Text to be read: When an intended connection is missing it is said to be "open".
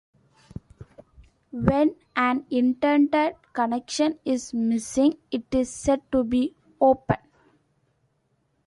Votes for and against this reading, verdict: 2, 0, accepted